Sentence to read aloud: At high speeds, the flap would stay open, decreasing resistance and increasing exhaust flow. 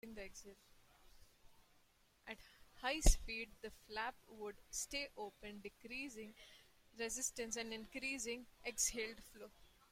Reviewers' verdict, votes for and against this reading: rejected, 0, 2